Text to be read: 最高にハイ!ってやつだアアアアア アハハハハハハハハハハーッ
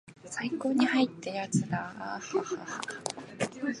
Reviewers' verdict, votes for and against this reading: accepted, 4, 1